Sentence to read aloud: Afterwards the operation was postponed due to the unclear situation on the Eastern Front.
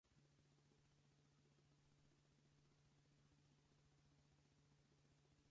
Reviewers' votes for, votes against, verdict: 0, 4, rejected